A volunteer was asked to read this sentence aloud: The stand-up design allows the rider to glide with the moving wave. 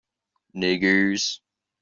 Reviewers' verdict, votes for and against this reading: rejected, 0, 2